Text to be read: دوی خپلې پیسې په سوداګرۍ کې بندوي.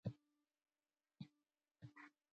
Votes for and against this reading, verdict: 0, 2, rejected